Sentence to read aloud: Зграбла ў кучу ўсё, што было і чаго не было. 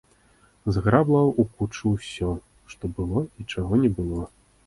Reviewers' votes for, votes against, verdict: 0, 2, rejected